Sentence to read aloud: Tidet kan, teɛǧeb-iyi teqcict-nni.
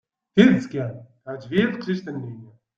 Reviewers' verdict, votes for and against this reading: accepted, 2, 0